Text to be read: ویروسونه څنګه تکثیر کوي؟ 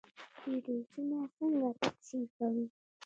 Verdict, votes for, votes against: rejected, 1, 2